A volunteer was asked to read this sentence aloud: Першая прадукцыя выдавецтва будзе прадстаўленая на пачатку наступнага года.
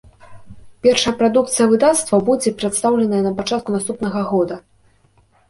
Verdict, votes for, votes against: rejected, 0, 2